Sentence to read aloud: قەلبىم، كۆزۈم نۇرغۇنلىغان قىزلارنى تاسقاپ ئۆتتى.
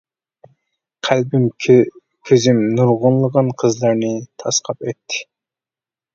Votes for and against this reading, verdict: 0, 2, rejected